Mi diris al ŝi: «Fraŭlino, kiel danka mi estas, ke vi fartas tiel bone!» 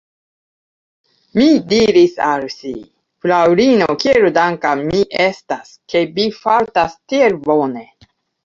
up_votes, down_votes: 0, 2